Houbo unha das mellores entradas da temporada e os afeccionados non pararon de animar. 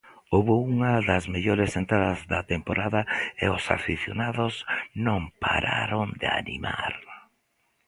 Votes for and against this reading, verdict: 0, 2, rejected